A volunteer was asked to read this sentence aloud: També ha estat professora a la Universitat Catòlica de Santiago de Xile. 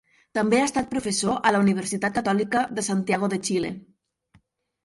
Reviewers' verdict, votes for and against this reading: rejected, 0, 6